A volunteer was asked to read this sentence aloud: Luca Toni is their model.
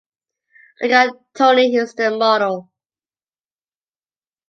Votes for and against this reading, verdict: 0, 2, rejected